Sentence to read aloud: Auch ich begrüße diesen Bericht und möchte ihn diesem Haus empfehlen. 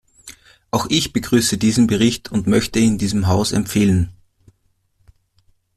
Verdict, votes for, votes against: accepted, 2, 0